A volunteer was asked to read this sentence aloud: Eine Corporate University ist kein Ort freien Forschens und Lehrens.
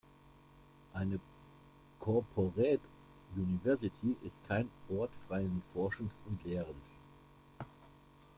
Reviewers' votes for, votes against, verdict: 2, 1, accepted